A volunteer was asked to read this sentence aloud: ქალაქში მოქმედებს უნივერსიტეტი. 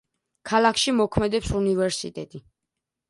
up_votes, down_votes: 2, 0